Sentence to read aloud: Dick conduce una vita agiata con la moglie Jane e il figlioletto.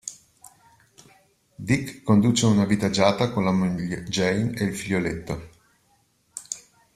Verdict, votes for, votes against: rejected, 1, 2